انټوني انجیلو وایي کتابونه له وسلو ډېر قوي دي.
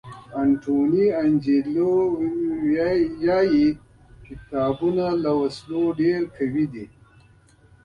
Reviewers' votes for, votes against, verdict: 2, 1, accepted